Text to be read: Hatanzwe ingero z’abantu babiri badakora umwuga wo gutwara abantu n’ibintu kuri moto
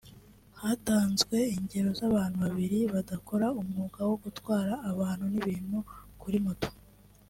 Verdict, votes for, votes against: accepted, 2, 0